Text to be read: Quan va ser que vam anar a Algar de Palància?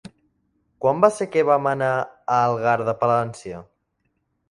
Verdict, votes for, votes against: accepted, 3, 0